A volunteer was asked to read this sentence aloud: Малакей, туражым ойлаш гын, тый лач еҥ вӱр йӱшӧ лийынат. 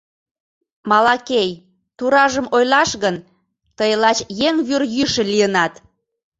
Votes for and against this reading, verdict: 2, 0, accepted